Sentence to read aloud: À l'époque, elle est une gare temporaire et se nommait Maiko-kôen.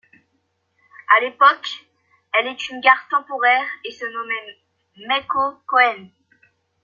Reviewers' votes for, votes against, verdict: 0, 2, rejected